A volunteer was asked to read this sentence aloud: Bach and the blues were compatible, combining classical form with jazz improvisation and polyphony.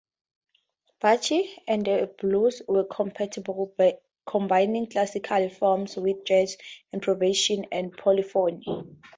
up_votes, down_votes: 2, 4